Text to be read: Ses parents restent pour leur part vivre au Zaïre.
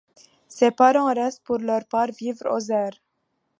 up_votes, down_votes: 2, 3